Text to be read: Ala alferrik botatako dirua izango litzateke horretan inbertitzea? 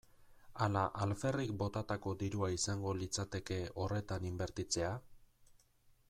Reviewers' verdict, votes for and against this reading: rejected, 1, 2